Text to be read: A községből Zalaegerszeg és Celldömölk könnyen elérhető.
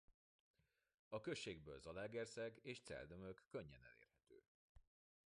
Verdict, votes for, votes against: rejected, 0, 2